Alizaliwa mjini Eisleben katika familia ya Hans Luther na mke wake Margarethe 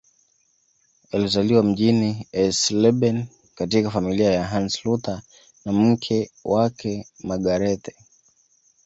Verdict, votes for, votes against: accepted, 2, 1